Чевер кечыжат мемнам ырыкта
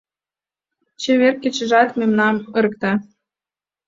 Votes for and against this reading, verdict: 2, 0, accepted